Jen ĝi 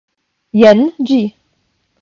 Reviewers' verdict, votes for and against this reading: accepted, 5, 0